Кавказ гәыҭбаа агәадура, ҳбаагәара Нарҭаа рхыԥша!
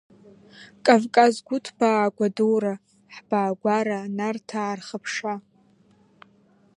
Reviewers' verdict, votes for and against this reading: accepted, 2, 0